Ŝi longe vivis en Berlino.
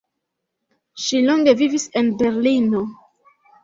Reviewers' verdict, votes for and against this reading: accepted, 2, 0